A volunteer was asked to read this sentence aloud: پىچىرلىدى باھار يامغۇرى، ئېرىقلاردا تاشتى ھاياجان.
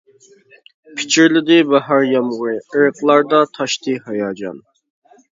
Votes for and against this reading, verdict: 2, 0, accepted